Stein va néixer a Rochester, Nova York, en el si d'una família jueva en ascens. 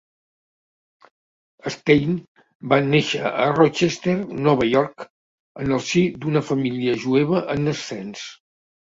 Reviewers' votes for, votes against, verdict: 2, 0, accepted